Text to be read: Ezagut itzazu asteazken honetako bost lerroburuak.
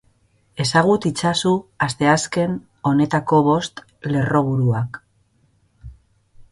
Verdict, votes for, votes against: accepted, 3, 0